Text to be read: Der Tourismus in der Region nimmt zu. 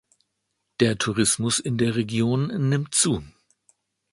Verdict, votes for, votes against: accepted, 2, 0